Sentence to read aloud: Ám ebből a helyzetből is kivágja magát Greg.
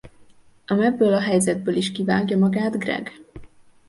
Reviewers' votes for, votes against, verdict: 2, 0, accepted